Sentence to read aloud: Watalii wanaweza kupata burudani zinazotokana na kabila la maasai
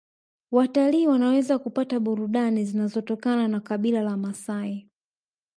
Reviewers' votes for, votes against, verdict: 1, 2, rejected